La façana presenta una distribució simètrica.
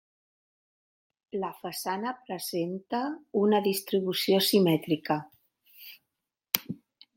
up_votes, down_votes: 1, 2